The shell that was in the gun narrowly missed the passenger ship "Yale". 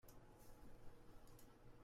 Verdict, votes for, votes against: rejected, 0, 2